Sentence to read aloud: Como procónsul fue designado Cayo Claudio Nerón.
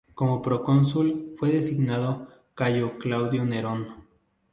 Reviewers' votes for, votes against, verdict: 2, 2, rejected